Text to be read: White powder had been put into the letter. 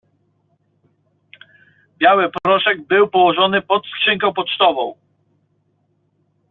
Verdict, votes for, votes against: rejected, 0, 2